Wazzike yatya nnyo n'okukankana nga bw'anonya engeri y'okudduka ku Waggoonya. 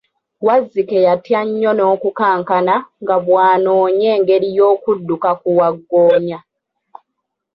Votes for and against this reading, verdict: 2, 1, accepted